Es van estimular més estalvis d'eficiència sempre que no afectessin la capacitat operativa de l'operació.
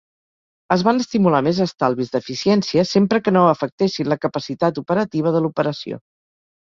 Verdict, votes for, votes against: accepted, 2, 0